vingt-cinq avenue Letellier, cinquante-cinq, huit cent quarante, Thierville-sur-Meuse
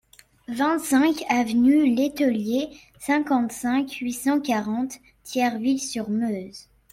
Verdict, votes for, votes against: rejected, 0, 3